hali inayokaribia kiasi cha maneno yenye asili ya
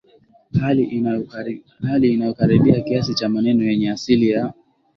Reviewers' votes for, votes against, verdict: 0, 2, rejected